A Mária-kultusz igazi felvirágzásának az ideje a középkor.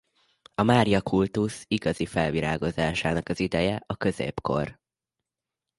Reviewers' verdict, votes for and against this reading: rejected, 1, 2